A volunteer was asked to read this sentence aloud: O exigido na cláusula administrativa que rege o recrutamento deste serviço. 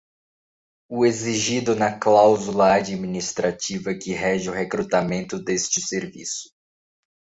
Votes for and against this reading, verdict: 4, 0, accepted